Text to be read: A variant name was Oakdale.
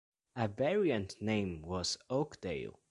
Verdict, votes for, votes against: accepted, 2, 0